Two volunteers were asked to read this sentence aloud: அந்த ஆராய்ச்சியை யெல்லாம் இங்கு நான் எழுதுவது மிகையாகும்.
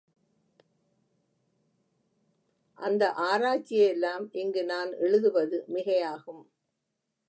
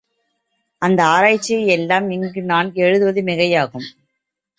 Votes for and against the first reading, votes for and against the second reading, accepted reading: 0, 2, 2, 0, second